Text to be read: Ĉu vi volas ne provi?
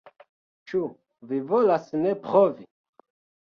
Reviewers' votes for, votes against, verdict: 0, 2, rejected